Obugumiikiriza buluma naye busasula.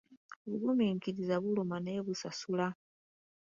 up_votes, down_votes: 2, 0